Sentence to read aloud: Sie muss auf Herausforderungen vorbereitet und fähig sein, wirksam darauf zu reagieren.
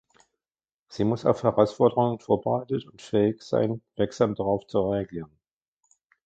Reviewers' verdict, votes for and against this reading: rejected, 1, 2